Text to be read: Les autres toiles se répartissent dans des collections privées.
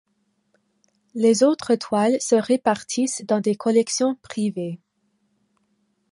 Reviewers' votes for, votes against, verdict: 2, 0, accepted